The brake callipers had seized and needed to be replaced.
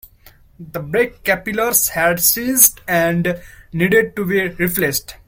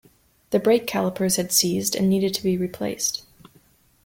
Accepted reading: second